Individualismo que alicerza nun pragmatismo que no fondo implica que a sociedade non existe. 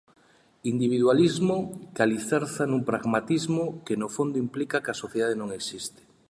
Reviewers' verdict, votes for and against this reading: accepted, 2, 0